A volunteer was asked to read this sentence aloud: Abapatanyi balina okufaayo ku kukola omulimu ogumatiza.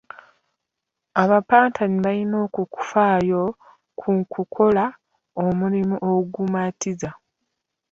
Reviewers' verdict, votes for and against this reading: rejected, 1, 2